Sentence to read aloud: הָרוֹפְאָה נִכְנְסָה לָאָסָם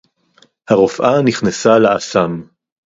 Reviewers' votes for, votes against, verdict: 2, 2, rejected